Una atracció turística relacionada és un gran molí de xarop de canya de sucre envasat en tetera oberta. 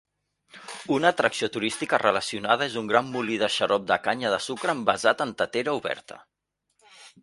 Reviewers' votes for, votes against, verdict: 2, 0, accepted